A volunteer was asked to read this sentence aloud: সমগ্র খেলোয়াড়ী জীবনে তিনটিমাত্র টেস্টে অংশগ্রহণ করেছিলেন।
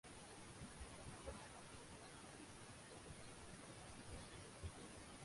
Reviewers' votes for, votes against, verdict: 0, 2, rejected